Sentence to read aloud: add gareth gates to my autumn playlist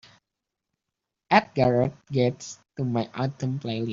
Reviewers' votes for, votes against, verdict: 1, 2, rejected